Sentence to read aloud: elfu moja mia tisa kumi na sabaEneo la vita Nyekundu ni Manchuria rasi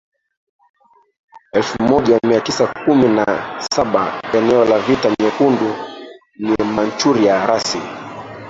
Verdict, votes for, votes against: rejected, 0, 2